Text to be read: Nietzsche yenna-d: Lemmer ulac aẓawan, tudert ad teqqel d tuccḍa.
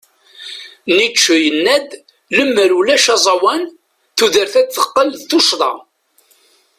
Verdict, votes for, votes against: accepted, 2, 0